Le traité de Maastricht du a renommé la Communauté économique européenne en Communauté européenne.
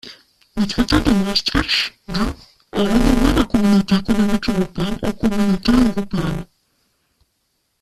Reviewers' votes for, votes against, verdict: 1, 2, rejected